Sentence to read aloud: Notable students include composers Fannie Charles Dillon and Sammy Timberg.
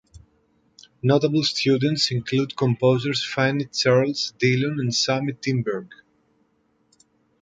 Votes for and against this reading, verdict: 2, 0, accepted